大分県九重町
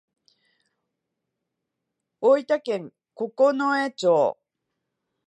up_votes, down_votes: 2, 0